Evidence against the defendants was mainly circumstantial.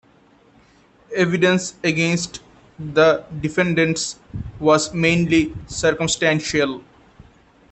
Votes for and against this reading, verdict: 2, 0, accepted